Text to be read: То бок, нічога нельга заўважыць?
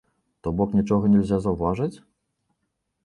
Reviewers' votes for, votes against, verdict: 1, 2, rejected